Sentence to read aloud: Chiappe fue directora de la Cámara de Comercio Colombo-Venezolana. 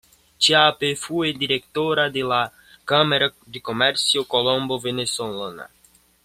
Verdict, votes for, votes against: accepted, 2, 1